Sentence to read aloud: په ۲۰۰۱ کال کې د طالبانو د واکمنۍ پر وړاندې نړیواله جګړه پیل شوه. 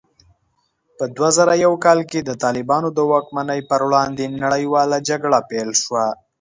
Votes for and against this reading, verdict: 0, 2, rejected